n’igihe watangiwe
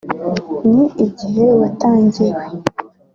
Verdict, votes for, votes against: accepted, 2, 1